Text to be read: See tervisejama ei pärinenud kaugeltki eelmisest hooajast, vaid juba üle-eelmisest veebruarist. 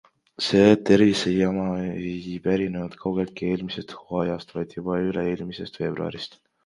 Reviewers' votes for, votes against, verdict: 2, 0, accepted